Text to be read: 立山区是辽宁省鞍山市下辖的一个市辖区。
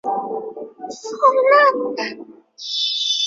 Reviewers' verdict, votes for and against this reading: rejected, 0, 2